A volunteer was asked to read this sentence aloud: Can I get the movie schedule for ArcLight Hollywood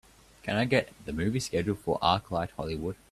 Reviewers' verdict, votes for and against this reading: accepted, 2, 0